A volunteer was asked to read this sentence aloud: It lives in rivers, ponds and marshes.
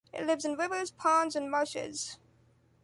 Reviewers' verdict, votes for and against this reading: accepted, 2, 0